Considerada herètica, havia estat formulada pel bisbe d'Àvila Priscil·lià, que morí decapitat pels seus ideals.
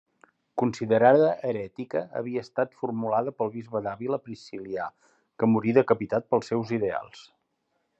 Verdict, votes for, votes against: accepted, 3, 0